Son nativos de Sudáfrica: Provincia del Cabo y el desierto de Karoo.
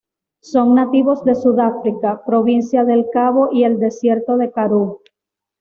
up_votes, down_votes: 2, 0